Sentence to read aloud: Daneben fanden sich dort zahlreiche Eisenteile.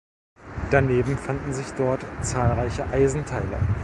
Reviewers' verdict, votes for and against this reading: rejected, 1, 2